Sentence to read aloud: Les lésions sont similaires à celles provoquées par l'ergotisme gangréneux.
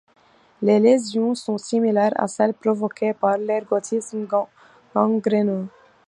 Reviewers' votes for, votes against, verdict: 0, 2, rejected